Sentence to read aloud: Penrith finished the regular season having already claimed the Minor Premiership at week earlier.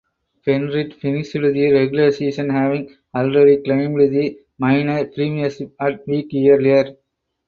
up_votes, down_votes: 0, 4